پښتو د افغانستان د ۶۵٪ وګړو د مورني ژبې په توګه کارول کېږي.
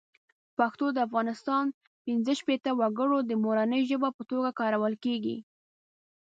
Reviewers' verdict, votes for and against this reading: rejected, 0, 2